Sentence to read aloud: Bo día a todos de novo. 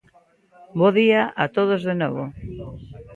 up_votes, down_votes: 2, 0